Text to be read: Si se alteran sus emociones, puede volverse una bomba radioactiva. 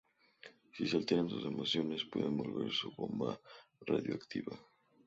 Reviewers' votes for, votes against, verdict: 2, 0, accepted